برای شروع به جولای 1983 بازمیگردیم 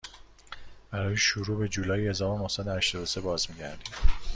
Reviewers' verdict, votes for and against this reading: rejected, 0, 2